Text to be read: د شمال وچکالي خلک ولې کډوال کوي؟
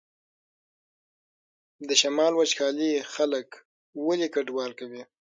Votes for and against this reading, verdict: 6, 0, accepted